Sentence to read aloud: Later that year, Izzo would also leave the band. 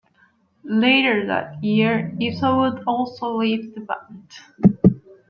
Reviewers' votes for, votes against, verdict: 2, 1, accepted